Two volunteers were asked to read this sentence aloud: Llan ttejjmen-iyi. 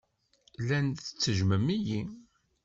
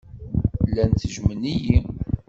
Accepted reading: second